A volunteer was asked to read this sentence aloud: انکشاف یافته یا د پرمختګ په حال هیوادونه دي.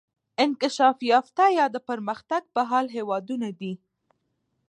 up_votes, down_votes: 1, 2